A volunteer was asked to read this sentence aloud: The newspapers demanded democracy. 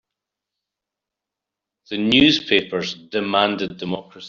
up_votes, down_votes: 0, 2